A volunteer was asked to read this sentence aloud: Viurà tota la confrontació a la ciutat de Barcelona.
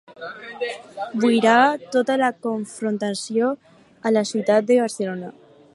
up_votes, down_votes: 0, 4